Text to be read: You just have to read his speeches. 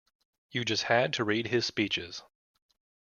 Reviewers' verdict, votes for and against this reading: rejected, 0, 2